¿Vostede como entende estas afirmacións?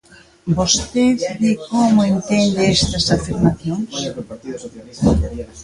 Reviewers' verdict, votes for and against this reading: rejected, 0, 2